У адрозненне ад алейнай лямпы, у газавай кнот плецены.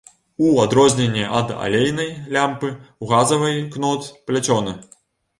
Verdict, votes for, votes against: rejected, 1, 2